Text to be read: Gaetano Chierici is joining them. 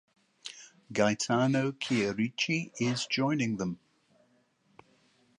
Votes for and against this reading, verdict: 2, 0, accepted